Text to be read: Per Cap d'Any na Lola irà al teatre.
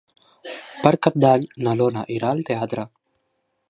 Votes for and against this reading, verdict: 2, 1, accepted